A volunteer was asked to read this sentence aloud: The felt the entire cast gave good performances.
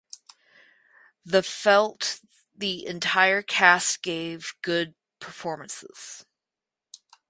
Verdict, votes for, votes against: accepted, 4, 0